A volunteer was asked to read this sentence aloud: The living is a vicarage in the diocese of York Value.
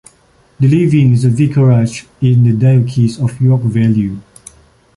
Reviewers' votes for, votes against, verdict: 1, 2, rejected